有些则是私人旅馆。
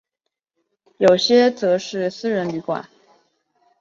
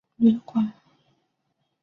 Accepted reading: first